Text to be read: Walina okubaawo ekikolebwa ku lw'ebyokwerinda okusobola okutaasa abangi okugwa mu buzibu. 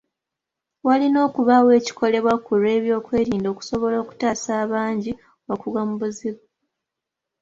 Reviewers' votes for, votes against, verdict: 2, 0, accepted